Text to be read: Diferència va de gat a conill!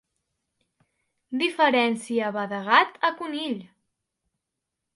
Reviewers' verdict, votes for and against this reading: accepted, 3, 0